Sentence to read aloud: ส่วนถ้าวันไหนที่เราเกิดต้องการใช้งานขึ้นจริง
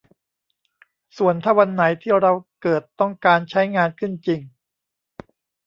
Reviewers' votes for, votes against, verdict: 2, 0, accepted